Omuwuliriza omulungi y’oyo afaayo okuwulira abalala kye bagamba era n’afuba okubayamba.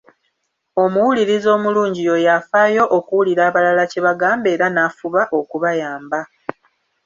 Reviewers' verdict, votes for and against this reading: accepted, 2, 0